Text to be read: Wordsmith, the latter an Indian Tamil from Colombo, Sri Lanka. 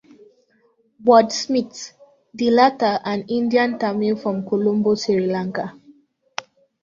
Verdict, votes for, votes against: accepted, 2, 0